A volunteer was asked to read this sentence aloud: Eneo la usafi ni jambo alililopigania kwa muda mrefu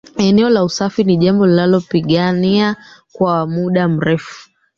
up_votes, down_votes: 1, 2